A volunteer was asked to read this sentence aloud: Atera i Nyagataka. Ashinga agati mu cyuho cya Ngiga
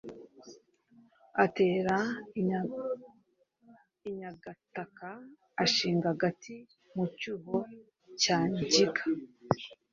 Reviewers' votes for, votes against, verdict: 1, 2, rejected